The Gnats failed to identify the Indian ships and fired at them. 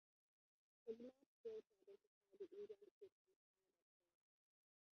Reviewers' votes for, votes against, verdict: 0, 2, rejected